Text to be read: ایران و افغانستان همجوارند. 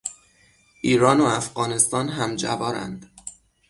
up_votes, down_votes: 6, 0